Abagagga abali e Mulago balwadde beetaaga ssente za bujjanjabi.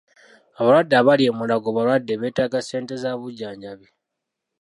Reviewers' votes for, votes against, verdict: 0, 2, rejected